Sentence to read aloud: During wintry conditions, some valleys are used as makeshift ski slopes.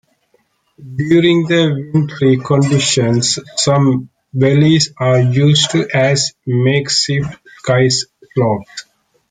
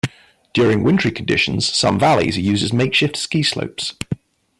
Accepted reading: second